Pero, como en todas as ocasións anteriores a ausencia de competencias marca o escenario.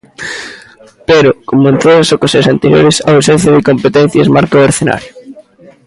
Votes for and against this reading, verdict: 1, 2, rejected